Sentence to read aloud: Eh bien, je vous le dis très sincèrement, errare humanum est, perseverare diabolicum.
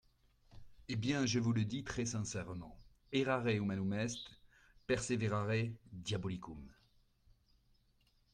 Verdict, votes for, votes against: accepted, 2, 0